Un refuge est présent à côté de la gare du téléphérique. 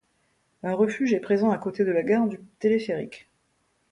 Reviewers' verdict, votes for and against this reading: rejected, 1, 2